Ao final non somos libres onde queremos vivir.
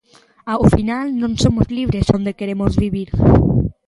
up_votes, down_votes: 2, 0